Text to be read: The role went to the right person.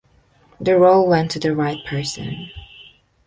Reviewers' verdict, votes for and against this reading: rejected, 1, 2